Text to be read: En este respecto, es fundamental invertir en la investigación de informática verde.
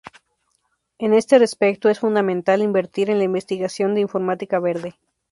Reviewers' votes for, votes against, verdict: 2, 0, accepted